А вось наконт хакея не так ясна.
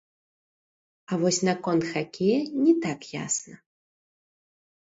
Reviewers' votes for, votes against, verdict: 0, 2, rejected